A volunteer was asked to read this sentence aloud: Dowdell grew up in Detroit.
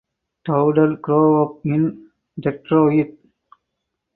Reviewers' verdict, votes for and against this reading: rejected, 2, 4